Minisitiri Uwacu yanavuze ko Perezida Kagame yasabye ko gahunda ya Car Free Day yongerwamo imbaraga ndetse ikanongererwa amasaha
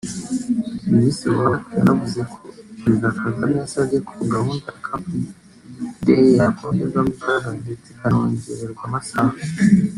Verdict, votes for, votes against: rejected, 0, 2